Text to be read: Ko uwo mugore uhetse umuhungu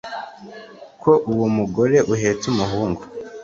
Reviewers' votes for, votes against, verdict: 2, 0, accepted